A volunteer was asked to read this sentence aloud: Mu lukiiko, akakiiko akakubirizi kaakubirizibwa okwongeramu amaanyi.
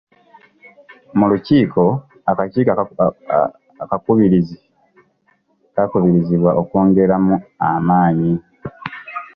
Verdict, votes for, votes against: rejected, 1, 2